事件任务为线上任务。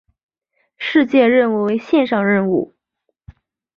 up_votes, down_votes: 2, 0